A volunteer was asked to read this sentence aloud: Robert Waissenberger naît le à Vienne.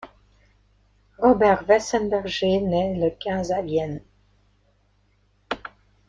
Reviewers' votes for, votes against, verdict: 0, 2, rejected